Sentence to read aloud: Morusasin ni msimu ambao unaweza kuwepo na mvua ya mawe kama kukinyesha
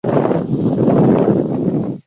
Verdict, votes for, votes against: rejected, 0, 2